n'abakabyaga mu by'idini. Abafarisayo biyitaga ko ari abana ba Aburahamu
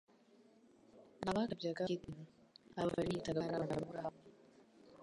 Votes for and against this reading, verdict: 1, 2, rejected